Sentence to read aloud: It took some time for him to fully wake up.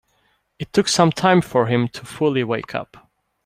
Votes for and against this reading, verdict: 2, 0, accepted